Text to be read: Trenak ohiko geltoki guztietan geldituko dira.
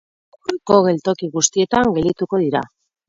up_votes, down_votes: 4, 4